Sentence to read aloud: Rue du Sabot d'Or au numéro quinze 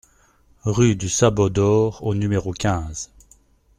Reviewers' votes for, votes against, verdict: 2, 0, accepted